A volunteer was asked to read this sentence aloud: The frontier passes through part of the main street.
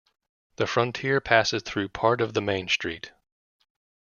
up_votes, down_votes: 2, 0